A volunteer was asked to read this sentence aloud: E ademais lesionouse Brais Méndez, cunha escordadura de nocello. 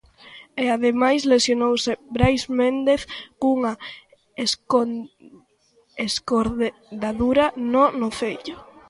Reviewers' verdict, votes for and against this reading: rejected, 0, 2